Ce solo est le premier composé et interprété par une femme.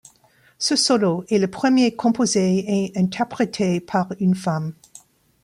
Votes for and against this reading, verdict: 2, 0, accepted